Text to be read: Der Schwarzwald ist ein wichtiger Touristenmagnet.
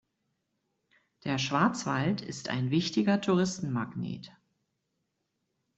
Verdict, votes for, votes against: accepted, 2, 0